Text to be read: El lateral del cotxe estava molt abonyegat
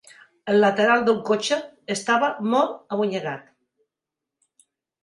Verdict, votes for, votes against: accepted, 4, 0